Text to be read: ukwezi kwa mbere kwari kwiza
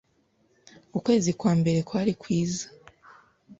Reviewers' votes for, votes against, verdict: 2, 0, accepted